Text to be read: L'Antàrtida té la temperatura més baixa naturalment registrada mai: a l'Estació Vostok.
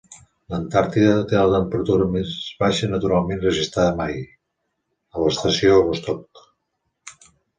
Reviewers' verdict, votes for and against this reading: accepted, 2, 0